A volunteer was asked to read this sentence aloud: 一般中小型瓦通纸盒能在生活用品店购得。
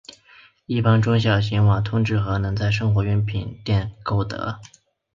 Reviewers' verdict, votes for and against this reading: accepted, 2, 0